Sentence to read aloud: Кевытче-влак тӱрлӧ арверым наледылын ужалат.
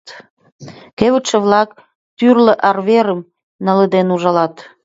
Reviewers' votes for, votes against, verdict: 0, 2, rejected